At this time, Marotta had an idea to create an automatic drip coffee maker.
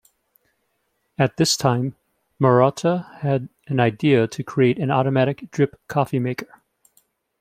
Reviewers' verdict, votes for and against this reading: accepted, 2, 0